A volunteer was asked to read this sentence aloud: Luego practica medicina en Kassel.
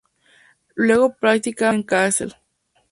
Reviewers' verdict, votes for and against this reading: rejected, 0, 2